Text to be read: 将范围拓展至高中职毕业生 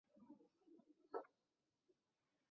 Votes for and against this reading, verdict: 0, 3, rejected